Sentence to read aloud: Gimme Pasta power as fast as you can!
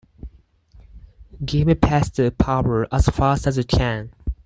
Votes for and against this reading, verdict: 4, 2, accepted